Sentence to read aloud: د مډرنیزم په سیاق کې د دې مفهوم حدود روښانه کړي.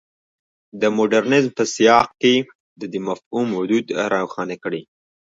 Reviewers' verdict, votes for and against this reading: rejected, 0, 2